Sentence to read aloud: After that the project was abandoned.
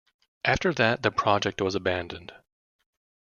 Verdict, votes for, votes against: accepted, 2, 0